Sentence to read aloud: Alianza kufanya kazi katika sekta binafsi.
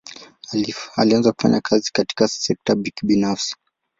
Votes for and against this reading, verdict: 2, 0, accepted